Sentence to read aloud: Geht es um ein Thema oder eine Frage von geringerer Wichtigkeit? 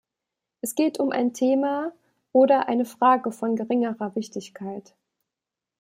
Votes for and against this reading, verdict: 1, 2, rejected